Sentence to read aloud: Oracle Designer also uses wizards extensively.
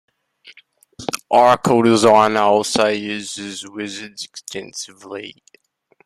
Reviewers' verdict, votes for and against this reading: accepted, 2, 0